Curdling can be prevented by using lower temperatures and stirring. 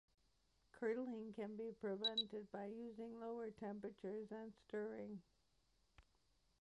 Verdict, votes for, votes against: accepted, 2, 1